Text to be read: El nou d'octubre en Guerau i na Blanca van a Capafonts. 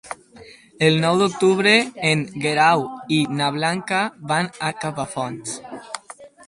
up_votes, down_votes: 4, 0